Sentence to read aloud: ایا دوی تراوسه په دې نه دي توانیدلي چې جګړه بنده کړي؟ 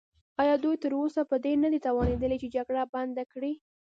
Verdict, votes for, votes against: rejected, 1, 2